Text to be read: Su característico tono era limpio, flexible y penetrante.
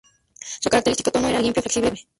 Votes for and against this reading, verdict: 0, 4, rejected